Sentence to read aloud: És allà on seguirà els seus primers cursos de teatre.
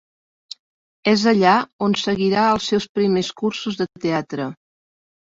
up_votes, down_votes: 4, 0